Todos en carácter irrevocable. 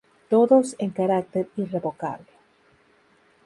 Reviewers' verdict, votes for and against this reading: accepted, 2, 0